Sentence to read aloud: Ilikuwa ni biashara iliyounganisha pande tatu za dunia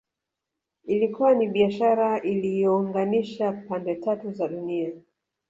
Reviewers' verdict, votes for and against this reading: rejected, 1, 2